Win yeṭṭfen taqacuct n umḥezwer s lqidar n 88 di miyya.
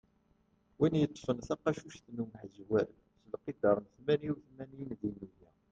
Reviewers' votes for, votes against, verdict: 0, 2, rejected